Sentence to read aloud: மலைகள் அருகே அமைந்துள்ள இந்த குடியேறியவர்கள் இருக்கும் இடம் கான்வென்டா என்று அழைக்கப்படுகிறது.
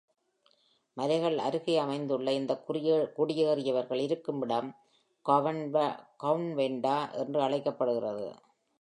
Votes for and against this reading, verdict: 0, 2, rejected